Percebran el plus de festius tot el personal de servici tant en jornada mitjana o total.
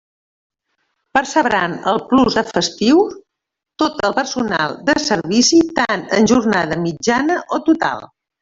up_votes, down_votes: 1, 2